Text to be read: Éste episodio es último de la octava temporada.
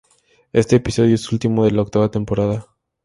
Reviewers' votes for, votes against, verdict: 2, 0, accepted